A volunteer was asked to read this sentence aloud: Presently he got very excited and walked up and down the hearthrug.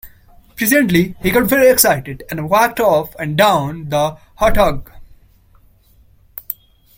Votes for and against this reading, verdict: 0, 2, rejected